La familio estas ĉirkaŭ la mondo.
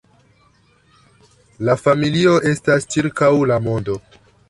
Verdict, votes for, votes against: accepted, 2, 0